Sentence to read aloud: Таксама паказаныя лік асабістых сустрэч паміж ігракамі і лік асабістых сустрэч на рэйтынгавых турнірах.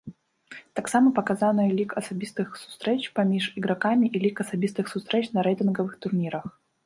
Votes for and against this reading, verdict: 3, 0, accepted